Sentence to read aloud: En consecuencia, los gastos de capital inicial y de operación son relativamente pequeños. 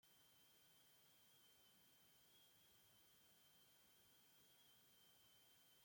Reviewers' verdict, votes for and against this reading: rejected, 0, 2